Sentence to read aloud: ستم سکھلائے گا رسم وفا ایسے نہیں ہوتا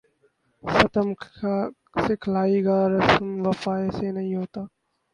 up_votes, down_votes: 0, 2